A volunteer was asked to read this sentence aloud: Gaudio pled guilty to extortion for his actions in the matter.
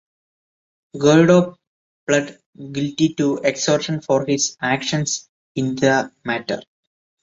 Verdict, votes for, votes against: rejected, 0, 2